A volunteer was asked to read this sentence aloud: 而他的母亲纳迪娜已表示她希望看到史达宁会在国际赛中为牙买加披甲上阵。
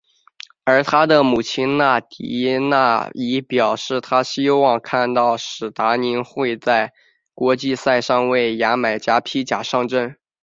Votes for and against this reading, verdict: 2, 0, accepted